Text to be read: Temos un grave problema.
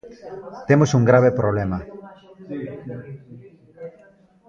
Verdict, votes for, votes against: rejected, 0, 2